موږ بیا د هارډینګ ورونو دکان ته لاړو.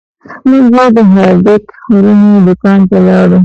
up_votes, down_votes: 0, 2